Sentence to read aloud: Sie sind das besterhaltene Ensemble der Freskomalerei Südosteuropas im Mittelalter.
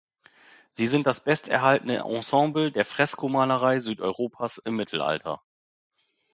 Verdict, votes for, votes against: rejected, 1, 2